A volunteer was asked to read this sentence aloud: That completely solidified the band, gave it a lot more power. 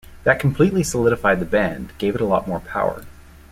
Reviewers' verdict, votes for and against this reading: accepted, 2, 0